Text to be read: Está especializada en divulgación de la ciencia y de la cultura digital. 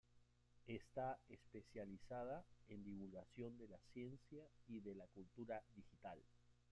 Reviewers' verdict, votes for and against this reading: rejected, 1, 2